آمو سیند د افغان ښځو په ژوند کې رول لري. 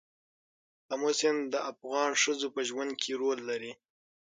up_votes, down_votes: 0, 6